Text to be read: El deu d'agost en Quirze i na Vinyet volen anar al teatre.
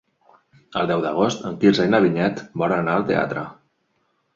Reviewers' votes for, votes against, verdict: 5, 0, accepted